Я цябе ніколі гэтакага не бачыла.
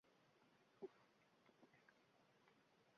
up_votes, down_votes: 1, 2